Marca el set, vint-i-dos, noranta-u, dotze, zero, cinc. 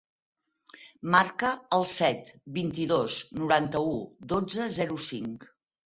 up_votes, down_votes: 6, 0